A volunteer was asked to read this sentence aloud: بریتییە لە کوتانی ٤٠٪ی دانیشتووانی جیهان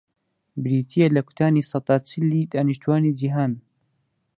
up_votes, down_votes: 0, 2